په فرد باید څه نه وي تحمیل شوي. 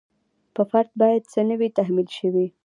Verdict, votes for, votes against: accepted, 2, 0